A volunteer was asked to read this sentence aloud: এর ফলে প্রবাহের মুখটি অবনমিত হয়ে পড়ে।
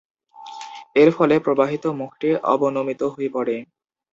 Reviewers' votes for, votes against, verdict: 2, 0, accepted